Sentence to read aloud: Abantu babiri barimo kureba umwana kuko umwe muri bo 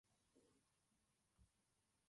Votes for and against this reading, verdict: 0, 2, rejected